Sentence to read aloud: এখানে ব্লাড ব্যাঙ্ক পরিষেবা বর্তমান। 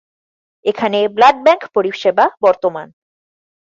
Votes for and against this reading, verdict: 12, 0, accepted